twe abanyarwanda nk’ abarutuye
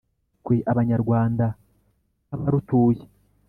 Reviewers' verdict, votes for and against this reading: accepted, 2, 0